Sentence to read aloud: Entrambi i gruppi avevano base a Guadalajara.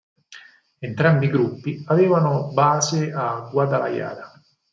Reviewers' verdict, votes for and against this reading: rejected, 0, 4